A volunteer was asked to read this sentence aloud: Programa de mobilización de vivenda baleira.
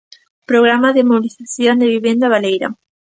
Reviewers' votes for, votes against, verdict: 1, 2, rejected